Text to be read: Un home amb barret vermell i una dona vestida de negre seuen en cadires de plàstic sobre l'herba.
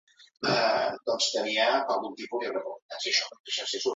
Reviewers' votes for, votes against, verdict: 0, 2, rejected